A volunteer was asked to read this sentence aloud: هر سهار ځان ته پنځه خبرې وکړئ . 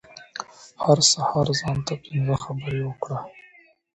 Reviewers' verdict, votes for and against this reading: rejected, 0, 2